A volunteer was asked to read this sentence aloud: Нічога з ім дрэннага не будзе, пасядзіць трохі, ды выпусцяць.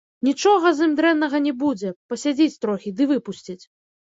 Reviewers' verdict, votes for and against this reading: rejected, 0, 2